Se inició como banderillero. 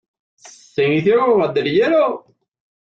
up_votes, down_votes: 2, 0